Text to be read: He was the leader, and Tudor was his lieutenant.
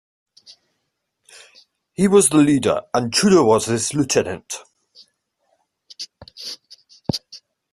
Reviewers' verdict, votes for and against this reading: accepted, 2, 1